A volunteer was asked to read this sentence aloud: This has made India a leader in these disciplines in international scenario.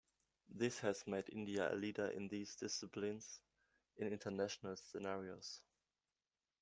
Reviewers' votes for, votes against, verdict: 0, 2, rejected